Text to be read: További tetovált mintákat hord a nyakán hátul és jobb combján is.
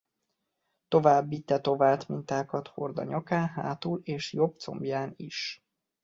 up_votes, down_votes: 2, 0